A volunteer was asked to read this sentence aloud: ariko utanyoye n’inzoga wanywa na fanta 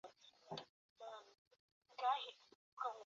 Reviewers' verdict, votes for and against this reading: rejected, 0, 2